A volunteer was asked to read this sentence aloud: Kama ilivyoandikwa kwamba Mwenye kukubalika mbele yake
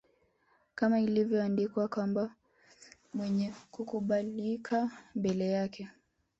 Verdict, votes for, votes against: accepted, 3, 1